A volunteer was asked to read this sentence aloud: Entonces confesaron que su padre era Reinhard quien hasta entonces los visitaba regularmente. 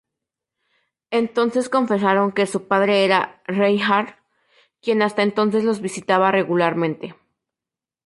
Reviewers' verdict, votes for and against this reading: accepted, 2, 0